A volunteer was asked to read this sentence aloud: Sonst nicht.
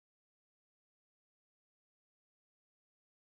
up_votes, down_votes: 0, 2